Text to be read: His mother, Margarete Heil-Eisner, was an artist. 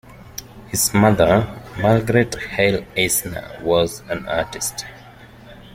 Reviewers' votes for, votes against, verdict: 2, 0, accepted